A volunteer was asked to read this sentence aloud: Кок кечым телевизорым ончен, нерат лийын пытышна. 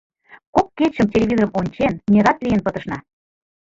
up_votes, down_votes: 1, 2